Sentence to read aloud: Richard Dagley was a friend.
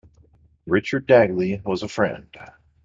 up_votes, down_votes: 2, 0